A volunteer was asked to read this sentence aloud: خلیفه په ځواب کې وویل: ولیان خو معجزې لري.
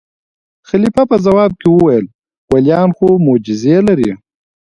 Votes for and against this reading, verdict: 1, 2, rejected